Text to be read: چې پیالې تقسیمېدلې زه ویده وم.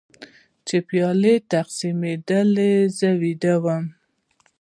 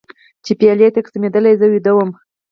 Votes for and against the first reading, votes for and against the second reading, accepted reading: 2, 1, 2, 4, first